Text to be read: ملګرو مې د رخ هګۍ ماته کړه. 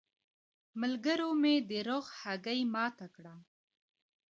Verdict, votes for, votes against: rejected, 1, 2